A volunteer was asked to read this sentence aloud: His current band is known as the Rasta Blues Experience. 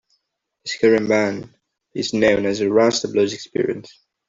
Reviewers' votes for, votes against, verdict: 1, 2, rejected